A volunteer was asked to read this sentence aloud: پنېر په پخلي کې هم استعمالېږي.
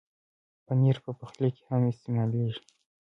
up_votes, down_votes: 2, 1